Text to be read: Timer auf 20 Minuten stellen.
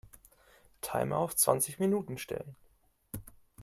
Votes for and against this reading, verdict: 0, 2, rejected